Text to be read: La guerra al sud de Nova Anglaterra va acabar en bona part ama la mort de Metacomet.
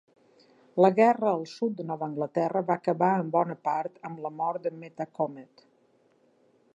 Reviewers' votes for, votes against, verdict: 2, 0, accepted